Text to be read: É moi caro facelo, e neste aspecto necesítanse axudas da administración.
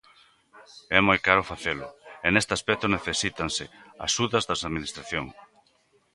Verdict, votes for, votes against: rejected, 1, 2